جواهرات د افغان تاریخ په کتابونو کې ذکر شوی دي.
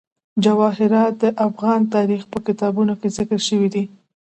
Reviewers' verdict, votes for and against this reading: accepted, 2, 0